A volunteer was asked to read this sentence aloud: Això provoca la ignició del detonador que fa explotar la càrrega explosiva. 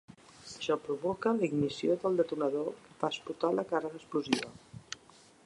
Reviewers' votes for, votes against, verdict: 1, 2, rejected